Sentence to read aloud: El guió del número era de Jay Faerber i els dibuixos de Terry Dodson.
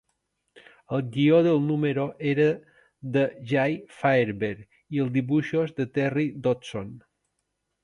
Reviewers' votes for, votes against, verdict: 4, 0, accepted